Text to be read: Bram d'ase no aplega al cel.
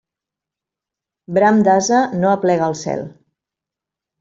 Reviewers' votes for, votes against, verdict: 2, 0, accepted